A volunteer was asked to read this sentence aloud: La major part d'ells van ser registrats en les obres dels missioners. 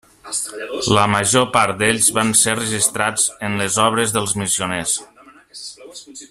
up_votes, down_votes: 1, 2